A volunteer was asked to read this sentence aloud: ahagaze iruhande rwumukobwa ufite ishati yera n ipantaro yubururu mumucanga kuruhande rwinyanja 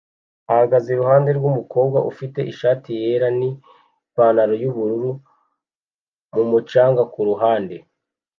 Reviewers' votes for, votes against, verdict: 1, 2, rejected